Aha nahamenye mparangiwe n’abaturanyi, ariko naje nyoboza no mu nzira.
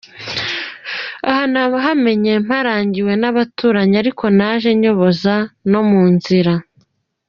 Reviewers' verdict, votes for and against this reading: accepted, 3, 0